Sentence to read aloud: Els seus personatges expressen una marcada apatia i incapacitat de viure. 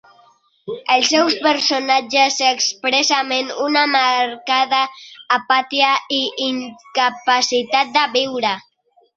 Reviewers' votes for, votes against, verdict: 1, 2, rejected